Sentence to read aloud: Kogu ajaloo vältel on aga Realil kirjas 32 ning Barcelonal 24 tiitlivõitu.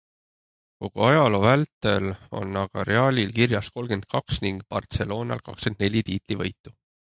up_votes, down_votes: 0, 2